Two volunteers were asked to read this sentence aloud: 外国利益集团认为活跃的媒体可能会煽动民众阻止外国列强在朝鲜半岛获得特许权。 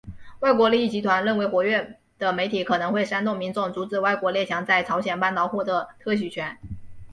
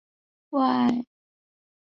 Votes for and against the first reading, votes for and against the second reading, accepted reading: 3, 0, 0, 2, first